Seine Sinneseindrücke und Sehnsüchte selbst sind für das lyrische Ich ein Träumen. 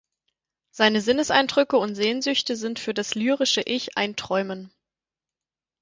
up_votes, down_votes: 0, 4